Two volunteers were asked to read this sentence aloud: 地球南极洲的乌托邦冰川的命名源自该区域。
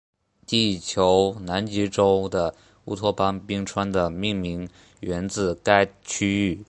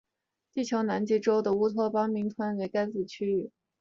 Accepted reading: first